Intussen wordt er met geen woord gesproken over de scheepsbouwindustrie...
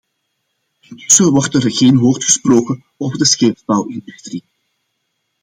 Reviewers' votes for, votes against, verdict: 0, 2, rejected